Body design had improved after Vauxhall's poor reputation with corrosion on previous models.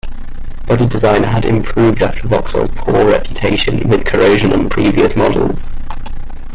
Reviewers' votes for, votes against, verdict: 2, 0, accepted